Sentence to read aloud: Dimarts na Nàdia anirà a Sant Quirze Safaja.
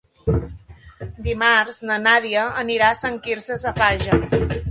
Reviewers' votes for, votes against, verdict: 2, 0, accepted